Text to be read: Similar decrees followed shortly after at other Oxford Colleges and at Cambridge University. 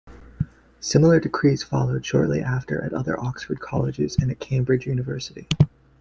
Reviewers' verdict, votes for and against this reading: accepted, 2, 0